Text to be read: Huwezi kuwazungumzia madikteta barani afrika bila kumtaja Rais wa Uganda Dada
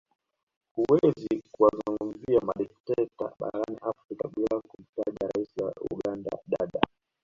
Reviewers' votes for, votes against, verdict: 1, 2, rejected